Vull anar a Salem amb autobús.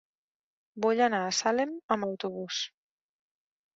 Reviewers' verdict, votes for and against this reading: accepted, 4, 1